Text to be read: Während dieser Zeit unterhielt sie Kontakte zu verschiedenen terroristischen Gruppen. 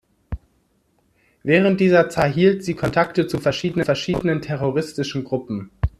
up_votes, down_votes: 0, 2